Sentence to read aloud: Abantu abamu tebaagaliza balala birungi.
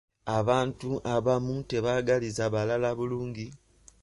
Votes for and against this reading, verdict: 1, 2, rejected